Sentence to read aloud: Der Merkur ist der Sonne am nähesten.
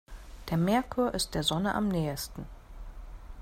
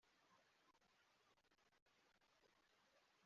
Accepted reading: first